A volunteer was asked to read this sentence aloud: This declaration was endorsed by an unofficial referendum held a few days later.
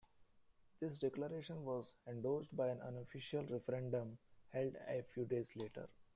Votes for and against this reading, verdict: 1, 2, rejected